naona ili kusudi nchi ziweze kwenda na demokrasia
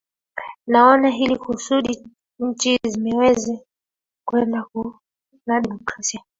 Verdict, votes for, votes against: rejected, 0, 2